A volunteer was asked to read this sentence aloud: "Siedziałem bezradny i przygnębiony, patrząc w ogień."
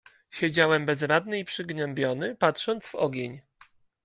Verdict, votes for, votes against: accepted, 2, 0